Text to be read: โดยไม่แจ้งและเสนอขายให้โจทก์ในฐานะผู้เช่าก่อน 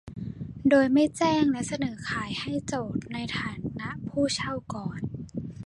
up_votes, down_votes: 2, 0